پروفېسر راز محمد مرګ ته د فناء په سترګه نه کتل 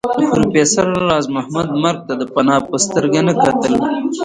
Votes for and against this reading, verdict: 3, 0, accepted